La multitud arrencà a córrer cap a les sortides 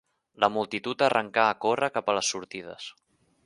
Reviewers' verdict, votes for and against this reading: accepted, 2, 0